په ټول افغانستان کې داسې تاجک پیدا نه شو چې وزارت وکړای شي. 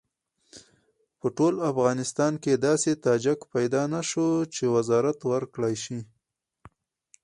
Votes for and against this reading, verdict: 0, 2, rejected